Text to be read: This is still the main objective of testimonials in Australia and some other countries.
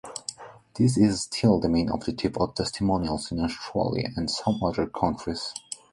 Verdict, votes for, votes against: accepted, 2, 0